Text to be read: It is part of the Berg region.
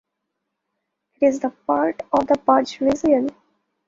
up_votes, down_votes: 0, 2